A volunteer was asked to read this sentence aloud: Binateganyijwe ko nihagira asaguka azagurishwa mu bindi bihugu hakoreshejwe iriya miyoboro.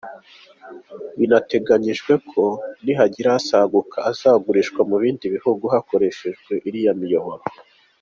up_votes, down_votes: 2, 0